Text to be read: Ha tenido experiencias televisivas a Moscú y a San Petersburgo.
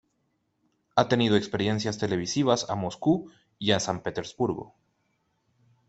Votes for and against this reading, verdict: 2, 0, accepted